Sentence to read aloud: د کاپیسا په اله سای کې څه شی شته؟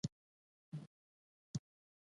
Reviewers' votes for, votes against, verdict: 0, 2, rejected